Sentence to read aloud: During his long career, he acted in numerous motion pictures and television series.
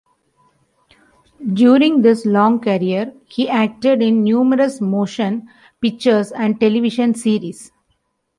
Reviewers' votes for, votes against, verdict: 2, 0, accepted